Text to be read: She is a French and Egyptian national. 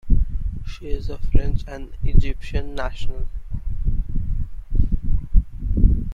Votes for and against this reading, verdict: 2, 0, accepted